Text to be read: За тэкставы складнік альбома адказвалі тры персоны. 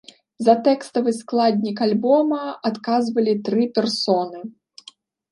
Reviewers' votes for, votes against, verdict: 2, 0, accepted